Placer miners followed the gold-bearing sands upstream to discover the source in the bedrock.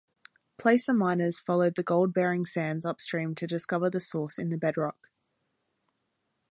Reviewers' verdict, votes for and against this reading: accepted, 2, 0